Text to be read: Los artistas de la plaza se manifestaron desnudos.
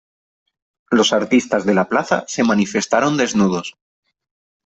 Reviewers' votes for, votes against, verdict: 3, 0, accepted